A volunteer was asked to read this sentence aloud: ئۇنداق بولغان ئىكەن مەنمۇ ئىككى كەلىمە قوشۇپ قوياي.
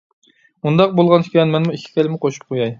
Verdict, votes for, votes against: rejected, 0, 2